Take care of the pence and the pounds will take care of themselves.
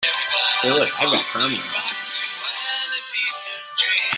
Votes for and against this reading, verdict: 0, 2, rejected